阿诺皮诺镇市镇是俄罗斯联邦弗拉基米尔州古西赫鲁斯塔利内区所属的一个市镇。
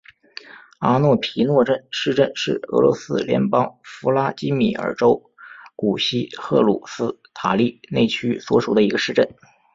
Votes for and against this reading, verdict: 2, 0, accepted